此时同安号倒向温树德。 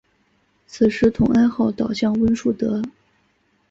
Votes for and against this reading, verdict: 0, 2, rejected